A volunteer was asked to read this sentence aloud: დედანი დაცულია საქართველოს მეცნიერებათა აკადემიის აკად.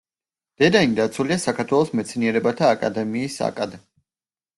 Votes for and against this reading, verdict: 0, 2, rejected